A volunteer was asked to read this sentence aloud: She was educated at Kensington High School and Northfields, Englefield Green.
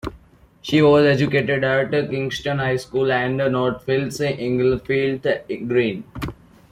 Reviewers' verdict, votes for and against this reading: rejected, 0, 2